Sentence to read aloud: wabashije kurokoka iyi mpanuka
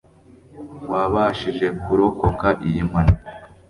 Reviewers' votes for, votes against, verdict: 1, 2, rejected